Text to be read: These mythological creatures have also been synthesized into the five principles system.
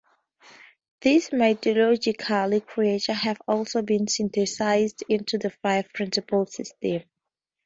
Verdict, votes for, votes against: rejected, 0, 2